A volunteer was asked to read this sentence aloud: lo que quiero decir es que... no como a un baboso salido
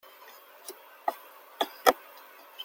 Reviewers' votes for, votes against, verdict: 0, 2, rejected